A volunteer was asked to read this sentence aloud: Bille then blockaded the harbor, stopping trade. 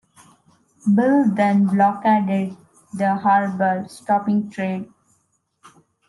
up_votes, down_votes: 2, 1